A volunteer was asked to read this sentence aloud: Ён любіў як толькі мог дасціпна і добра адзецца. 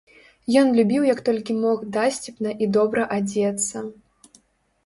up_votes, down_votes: 0, 2